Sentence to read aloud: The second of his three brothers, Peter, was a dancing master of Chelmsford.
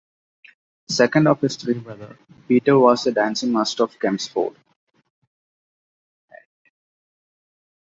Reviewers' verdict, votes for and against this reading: accepted, 2, 0